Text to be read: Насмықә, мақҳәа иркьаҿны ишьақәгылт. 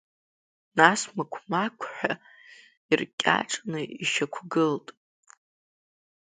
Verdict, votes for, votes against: accepted, 2, 0